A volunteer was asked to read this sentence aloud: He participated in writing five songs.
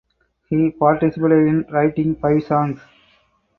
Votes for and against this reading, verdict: 2, 4, rejected